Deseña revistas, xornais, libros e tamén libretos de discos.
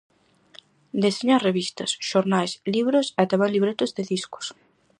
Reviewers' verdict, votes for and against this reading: accepted, 4, 0